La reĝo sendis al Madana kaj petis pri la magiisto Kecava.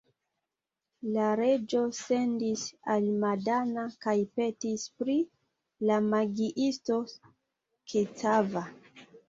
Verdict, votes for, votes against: rejected, 1, 2